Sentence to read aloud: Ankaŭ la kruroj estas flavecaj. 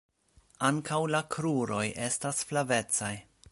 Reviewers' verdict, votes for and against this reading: accepted, 2, 0